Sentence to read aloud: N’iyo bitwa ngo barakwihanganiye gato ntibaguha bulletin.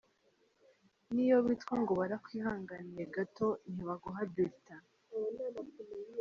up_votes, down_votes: 2, 0